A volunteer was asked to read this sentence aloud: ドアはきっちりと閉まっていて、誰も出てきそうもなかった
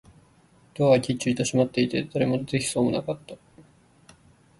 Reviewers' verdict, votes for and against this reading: accepted, 3, 1